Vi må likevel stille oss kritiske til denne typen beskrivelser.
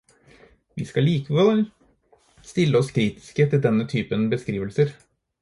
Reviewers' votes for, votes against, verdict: 0, 4, rejected